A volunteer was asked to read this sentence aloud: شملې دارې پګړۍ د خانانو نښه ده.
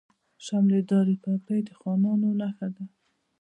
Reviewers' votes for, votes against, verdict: 2, 0, accepted